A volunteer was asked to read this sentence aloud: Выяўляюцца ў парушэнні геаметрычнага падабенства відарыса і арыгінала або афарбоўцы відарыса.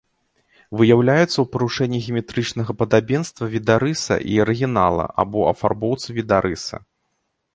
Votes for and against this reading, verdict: 1, 2, rejected